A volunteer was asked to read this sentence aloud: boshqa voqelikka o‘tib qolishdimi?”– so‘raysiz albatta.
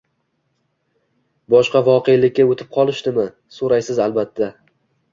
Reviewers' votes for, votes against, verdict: 1, 2, rejected